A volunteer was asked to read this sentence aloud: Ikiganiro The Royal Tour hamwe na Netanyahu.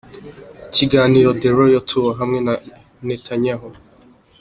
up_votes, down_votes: 0, 2